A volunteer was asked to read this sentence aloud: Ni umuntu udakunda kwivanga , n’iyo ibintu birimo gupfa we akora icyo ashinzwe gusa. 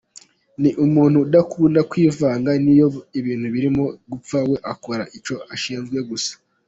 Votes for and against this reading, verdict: 2, 0, accepted